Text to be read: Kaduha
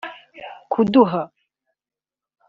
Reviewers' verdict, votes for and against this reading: rejected, 1, 2